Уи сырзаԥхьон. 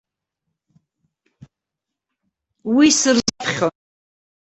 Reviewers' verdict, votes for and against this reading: rejected, 0, 2